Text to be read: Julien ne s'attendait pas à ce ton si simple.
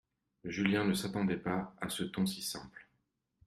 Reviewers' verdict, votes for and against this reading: accepted, 2, 0